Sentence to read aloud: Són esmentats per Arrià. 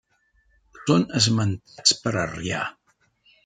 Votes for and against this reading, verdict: 0, 2, rejected